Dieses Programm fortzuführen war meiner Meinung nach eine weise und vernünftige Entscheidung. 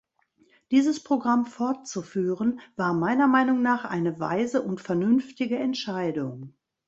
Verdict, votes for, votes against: accepted, 2, 0